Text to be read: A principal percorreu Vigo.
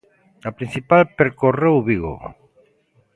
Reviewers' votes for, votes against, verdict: 2, 0, accepted